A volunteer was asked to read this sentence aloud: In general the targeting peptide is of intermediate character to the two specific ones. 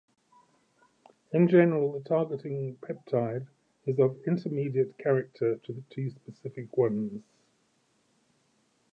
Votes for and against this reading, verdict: 2, 1, accepted